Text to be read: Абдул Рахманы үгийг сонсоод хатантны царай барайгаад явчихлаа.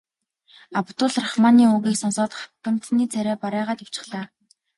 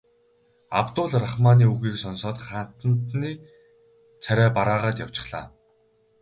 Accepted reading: first